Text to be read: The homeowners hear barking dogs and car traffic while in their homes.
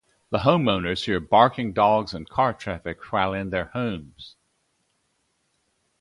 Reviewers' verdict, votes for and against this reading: accepted, 2, 0